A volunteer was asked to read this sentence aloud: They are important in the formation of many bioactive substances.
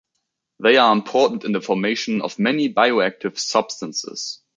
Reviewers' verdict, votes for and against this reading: accepted, 2, 1